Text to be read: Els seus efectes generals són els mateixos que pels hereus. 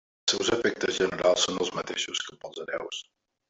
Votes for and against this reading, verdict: 0, 2, rejected